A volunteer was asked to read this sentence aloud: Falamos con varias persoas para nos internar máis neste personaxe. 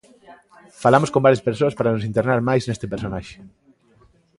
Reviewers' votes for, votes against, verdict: 2, 0, accepted